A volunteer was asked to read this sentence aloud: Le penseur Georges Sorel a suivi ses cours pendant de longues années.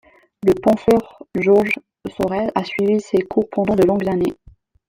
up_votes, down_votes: 2, 0